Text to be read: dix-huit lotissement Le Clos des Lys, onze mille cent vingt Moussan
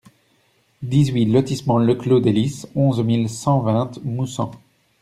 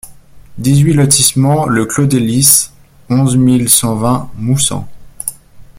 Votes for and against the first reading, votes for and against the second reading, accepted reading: 0, 2, 2, 0, second